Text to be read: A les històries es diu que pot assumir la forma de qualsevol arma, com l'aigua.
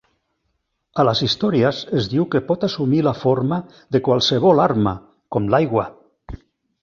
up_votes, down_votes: 1, 2